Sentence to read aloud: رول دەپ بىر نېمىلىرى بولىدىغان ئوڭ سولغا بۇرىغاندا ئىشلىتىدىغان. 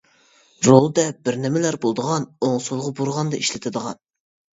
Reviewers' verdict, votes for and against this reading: accepted, 2, 1